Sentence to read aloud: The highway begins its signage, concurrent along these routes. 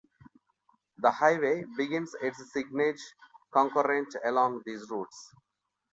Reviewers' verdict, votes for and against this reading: rejected, 0, 2